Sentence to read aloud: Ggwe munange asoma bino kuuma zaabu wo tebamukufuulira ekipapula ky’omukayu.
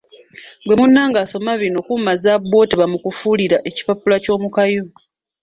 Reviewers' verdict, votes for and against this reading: accepted, 2, 0